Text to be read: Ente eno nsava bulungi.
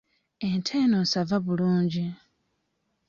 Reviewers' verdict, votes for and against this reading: accepted, 2, 0